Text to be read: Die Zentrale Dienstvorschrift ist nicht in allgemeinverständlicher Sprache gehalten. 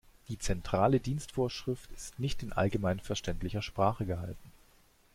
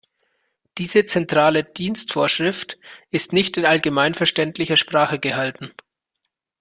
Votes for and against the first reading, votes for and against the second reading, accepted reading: 2, 0, 0, 2, first